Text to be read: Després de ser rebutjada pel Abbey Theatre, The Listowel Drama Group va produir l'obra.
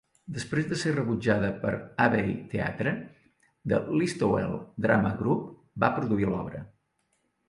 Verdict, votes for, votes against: accepted, 3, 0